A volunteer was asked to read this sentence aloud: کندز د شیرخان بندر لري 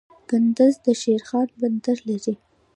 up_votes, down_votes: 1, 2